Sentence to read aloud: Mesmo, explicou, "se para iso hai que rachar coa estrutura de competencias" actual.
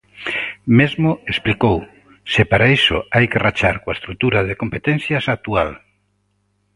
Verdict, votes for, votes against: accepted, 2, 0